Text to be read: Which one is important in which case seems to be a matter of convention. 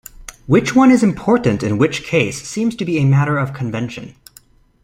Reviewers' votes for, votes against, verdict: 2, 0, accepted